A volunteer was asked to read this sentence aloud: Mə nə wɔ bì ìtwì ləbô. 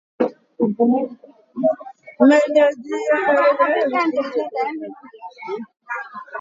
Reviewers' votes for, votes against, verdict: 0, 2, rejected